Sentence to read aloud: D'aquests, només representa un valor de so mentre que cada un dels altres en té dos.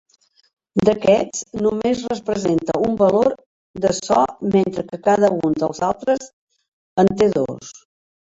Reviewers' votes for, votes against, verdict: 1, 2, rejected